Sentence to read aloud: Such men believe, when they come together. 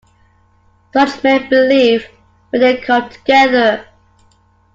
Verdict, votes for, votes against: accepted, 2, 0